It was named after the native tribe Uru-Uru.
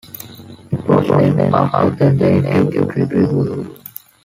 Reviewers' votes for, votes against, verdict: 1, 3, rejected